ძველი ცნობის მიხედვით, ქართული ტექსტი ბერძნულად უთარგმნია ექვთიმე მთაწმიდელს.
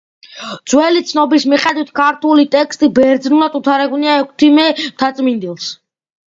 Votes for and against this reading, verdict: 2, 0, accepted